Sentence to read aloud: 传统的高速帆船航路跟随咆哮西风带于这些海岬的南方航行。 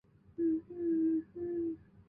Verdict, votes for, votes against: rejected, 0, 2